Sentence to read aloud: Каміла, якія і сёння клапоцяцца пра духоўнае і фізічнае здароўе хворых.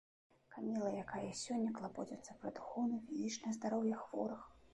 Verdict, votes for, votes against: rejected, 0, 2